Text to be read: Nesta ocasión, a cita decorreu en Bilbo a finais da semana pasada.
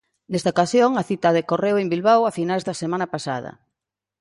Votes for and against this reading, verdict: 1, 2, rejected